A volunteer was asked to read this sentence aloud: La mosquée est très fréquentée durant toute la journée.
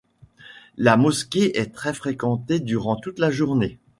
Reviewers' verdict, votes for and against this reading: accepted, 2, 0